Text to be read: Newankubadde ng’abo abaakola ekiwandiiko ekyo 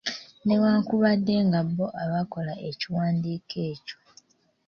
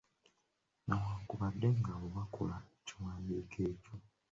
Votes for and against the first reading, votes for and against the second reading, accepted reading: 2, 0, 0, 2, first